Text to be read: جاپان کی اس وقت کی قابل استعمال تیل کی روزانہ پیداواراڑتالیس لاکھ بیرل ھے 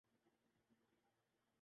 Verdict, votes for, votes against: rejected, 0, 4